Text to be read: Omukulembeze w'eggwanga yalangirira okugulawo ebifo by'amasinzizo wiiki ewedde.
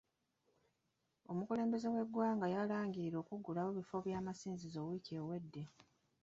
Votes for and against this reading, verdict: 2, 1, accepted